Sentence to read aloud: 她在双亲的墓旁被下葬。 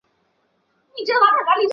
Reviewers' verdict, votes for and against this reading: rejected, 0, 3